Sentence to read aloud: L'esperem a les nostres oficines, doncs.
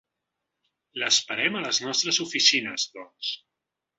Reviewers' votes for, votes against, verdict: 3, 0, accepted